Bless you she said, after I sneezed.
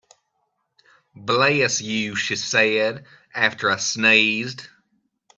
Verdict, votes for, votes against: rejected, 1, 2